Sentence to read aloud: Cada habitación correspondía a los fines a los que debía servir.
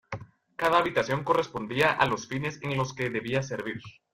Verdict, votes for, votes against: rejected, 0, 2